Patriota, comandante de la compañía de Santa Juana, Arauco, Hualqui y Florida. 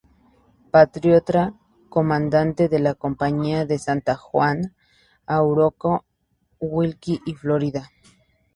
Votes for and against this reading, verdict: 0, 2, rejected